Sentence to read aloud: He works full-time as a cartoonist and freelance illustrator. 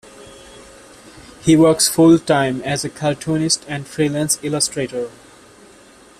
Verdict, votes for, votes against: accepted, 2, 0